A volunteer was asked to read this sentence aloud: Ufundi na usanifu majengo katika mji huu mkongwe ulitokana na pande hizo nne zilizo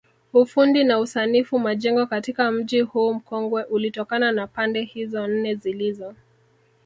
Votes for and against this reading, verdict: 0, 2, rejected